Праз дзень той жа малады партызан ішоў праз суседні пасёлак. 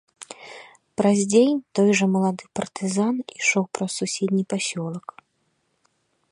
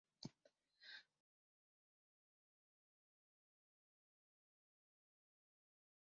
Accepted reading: first